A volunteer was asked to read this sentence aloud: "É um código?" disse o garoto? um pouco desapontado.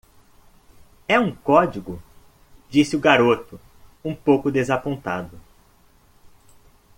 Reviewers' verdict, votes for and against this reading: accepted, 2, 0